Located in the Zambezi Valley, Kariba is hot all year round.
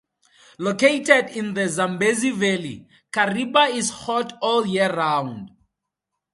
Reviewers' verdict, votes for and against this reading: accepted, 2, 0